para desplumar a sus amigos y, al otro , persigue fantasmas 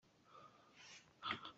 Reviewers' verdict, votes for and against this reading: rejected, 0, 2